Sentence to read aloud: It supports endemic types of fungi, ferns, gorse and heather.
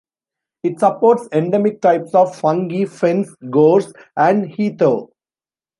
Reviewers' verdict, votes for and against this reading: rejected, 0, 2